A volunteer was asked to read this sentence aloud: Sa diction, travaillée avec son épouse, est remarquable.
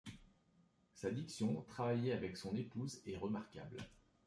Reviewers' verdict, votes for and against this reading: accepted, 2, 0